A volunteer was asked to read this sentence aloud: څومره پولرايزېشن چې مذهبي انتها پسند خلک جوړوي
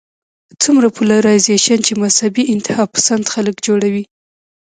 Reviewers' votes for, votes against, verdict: 1, 2, rejected